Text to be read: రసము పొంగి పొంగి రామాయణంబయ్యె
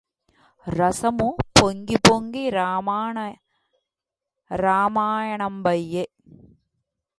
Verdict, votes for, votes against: rejected, 0, 2